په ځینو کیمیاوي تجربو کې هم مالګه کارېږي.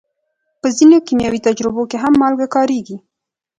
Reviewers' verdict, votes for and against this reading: accepted, 2, 0